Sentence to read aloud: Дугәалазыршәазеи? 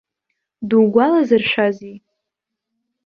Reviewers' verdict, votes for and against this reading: accepted, 2, 1